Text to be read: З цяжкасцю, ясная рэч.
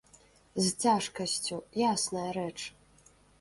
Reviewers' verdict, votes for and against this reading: accepted, 2, 1